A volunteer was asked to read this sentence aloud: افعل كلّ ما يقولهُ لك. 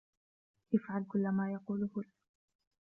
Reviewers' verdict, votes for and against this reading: accepted, 2, 0